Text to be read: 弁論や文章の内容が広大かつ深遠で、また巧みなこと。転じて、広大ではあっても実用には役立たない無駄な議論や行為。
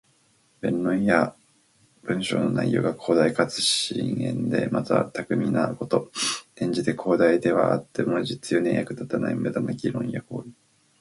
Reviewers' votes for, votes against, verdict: 2, 4, rejected